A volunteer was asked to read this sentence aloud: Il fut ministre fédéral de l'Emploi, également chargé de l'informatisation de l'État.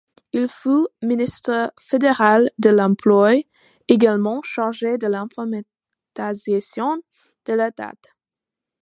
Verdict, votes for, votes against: rejected, 1, 2